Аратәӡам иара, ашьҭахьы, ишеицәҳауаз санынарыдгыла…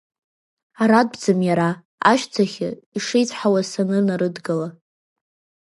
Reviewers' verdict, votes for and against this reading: accepted, 2, 0